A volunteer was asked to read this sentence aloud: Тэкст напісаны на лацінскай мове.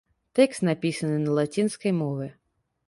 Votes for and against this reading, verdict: 2, 0, accepted